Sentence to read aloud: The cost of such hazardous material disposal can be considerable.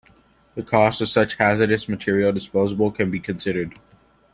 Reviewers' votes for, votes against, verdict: 0, 2, rejected